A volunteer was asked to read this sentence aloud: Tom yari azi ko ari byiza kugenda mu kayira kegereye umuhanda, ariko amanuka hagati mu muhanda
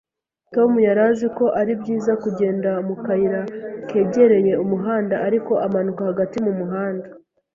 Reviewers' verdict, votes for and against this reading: accepted, 3, 0